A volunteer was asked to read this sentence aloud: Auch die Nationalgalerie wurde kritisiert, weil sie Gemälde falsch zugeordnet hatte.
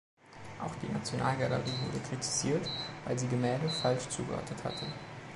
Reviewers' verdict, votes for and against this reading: accepted, 2, 0